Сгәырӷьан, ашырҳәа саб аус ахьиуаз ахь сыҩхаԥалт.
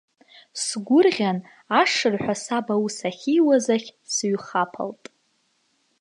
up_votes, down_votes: 2, 0